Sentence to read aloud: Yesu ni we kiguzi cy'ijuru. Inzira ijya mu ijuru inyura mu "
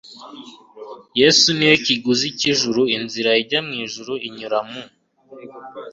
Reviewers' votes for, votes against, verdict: 2, 0, accepted